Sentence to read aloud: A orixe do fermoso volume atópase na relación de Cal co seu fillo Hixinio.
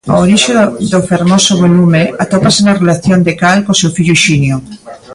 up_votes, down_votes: 1, 2